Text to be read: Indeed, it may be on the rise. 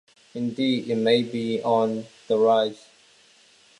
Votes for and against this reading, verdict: 2, 0, accepted